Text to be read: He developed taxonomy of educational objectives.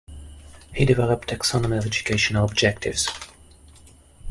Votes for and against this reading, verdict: 2, 0, accepted